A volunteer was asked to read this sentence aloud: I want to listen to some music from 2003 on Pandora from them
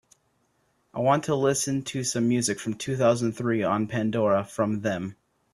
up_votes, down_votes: 0, 2